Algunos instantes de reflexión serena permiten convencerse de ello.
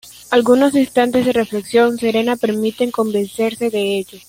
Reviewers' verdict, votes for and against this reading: accepted, 2, 0